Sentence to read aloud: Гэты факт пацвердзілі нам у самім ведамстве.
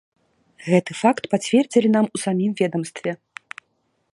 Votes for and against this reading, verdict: 2, 0, accepted